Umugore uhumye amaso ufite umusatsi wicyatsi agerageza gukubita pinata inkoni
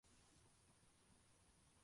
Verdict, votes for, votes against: rejected, 0, 2